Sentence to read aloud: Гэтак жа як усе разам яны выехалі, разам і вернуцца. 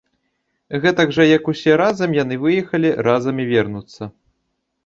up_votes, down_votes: 2, 0